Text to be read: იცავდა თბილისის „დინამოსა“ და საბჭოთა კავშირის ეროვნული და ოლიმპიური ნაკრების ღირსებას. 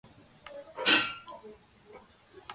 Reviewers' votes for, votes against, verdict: 0, 2, rejected